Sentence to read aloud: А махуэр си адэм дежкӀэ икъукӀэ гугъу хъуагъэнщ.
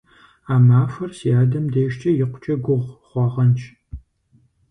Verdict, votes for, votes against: accepted, 4, 0